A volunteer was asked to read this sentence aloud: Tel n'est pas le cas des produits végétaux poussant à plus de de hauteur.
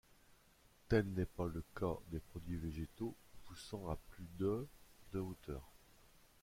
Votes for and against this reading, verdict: 1, 2, rejected